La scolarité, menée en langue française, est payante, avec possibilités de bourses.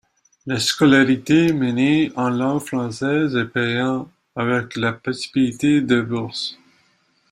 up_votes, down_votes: 0, 2